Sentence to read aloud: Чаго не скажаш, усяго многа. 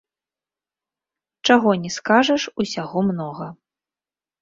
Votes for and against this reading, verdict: 1, 2, rejected